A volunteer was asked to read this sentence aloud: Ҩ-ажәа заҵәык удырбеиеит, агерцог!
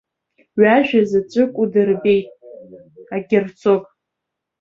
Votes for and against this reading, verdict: 2, 0, accepted